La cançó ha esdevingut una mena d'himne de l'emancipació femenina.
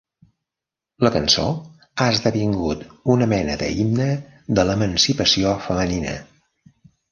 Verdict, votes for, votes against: rejected, 1, 2